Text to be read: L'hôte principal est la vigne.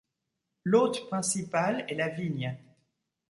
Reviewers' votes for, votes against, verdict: 2, 0, accepted